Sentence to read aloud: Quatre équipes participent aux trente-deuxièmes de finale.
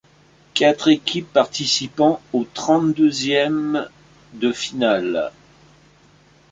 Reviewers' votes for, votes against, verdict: 2, 1, accepted